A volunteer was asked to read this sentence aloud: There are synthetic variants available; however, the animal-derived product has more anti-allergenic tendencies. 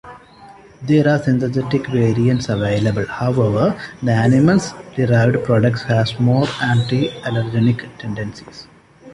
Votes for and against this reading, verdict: 0, 2, rejected